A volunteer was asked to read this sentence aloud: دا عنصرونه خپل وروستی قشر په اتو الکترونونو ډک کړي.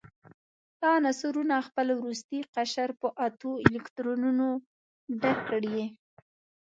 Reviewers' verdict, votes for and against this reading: accepted, 2, 0